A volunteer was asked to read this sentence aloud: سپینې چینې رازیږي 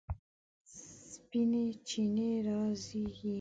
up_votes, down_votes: 2, 1